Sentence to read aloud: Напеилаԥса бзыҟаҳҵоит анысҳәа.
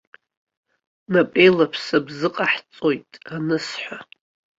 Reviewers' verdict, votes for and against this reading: rejected, 1, 2